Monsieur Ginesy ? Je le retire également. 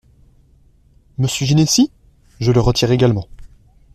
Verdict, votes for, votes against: accepted, 2, 0